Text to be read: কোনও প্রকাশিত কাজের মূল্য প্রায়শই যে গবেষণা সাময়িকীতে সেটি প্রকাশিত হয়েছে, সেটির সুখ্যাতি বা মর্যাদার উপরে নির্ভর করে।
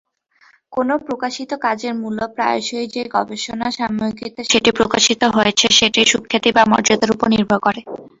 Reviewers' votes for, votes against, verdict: 0, 2, rejected